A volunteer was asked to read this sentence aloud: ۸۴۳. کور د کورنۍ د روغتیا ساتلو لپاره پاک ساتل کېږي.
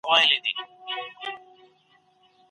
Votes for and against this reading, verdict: 0, 2, rejected